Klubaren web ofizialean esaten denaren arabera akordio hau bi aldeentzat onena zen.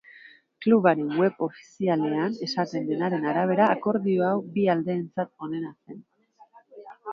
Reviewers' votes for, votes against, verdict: 2, 3, rejected